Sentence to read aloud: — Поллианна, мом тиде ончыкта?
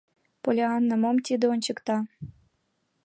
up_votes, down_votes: 3, 0